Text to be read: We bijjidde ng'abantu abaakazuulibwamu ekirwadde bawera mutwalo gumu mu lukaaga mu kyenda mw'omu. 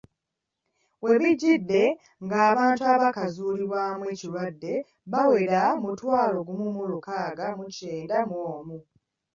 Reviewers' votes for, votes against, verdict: 2, 0, accepted